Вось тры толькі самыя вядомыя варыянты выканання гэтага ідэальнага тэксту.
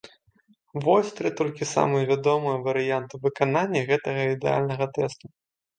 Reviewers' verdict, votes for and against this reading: rejected, 0, 2